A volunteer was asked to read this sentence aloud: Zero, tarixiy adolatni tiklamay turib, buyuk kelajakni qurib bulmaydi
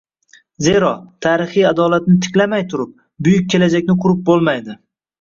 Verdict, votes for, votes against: accepted, 2, 0